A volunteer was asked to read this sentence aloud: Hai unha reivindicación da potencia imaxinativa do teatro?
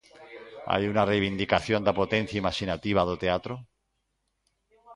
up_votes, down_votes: 1, 2